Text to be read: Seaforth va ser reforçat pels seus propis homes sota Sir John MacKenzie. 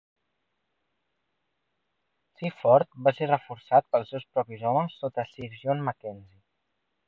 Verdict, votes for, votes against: rejected, 1, 2